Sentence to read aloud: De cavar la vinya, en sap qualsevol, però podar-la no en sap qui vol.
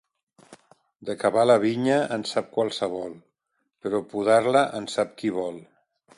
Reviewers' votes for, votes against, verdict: 1, 2, rejected